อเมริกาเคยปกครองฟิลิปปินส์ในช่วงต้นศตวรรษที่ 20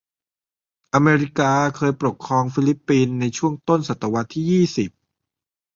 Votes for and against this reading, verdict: 0, 2, rejected